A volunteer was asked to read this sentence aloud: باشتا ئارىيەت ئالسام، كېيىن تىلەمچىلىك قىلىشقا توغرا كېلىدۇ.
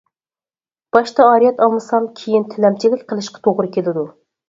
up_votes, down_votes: 0, 4